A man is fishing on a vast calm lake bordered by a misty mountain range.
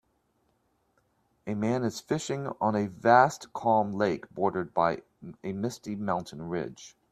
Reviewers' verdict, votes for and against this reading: rejected, 1, 2